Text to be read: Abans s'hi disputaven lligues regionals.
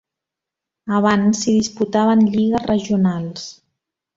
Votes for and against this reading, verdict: 1, 2, rejected